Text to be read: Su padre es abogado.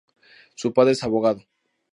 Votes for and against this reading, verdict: 0, 2, rejected